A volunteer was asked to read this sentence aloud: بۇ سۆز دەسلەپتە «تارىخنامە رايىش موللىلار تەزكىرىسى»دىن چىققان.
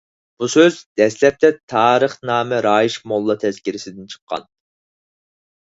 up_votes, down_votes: 4, 0